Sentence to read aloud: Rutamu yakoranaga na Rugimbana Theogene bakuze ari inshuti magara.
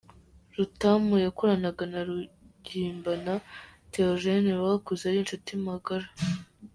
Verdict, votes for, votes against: rejected, 0, 2